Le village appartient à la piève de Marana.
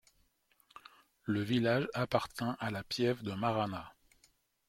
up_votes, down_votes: 2, 1